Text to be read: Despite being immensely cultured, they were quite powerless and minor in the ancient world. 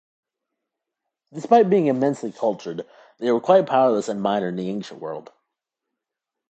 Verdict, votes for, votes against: rejected, 1, 2